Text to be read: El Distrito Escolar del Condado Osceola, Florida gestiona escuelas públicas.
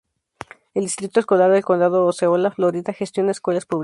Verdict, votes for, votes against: rejected, 2, 2